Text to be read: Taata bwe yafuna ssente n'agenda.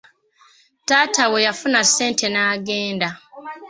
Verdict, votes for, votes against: accepted, 2, 0